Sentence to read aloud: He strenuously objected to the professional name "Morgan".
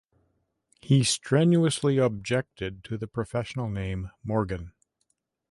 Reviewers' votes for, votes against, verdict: 2, 0, accepted